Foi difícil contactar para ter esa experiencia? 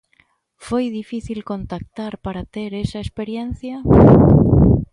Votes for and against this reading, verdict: 2, 0, accepted